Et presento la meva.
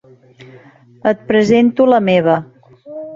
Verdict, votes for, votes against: accepted, 4, 0